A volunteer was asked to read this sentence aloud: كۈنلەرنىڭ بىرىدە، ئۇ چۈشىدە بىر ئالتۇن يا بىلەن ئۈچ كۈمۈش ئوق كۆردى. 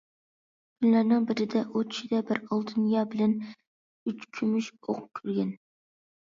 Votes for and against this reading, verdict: 0, 2, rejected